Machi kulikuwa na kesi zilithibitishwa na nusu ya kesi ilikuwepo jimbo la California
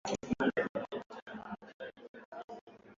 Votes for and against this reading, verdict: 0, 2, rejected